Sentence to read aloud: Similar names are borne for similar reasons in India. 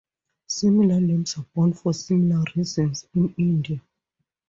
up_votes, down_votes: 2, 0